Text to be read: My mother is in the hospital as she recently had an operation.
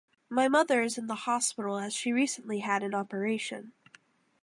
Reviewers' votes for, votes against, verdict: 0, 2, rejected